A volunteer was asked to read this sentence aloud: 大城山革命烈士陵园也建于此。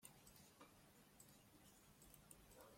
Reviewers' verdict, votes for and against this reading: rejected, 0, 2